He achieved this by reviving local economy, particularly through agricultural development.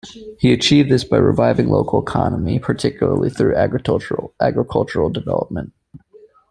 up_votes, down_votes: 1, 2